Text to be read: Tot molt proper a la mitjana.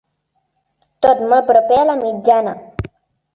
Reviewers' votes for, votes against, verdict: 0, 2, rejected